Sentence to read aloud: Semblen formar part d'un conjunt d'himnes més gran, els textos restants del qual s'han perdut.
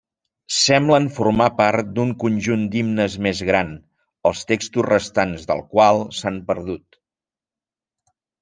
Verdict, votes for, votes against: accepted, 3, 0